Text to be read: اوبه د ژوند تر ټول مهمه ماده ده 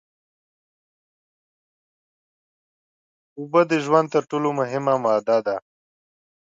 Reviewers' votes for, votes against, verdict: 2, 0, accepted